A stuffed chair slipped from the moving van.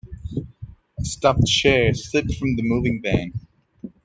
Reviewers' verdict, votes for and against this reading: rejected, 1, 2